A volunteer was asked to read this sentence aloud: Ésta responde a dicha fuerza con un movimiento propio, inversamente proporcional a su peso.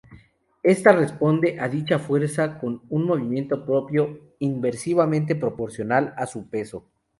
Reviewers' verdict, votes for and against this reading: rejected, 0, 2